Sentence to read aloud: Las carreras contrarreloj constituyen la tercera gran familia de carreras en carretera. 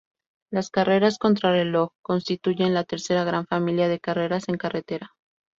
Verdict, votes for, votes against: rejected, 0, 2